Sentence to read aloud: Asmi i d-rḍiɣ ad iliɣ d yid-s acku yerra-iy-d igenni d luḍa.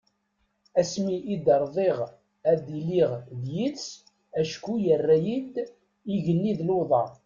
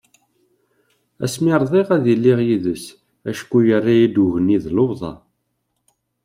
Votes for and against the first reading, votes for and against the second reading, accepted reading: 2, 0, 1, 2, first